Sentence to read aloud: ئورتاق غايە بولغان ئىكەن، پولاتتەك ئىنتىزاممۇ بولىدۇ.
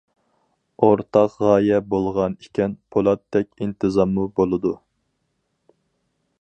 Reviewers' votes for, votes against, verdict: 4, 0, accepted